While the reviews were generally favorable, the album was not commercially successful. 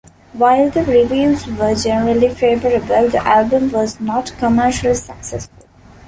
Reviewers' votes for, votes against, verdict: 2, 0, accepted